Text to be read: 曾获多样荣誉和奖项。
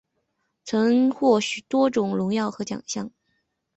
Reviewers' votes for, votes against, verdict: 0, 2, rejected